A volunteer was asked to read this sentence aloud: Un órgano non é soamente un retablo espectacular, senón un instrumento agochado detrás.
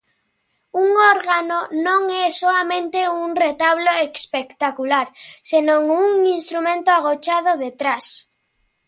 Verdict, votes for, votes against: accepted, 2, 0